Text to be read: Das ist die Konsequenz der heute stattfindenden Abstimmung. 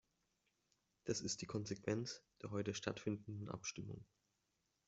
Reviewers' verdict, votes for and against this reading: accepted, 2, 0